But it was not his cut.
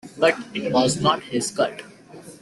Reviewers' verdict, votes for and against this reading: rejected, 0, 2